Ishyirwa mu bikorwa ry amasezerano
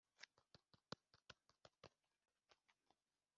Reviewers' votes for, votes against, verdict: 0, 2, rejected